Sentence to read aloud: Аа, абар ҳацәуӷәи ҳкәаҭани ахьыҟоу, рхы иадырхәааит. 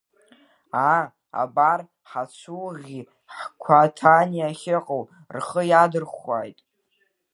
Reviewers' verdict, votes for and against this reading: rejected, 0, 2